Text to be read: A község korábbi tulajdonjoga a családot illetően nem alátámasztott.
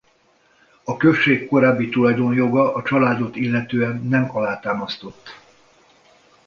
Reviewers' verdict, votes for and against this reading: accepted, 2, 0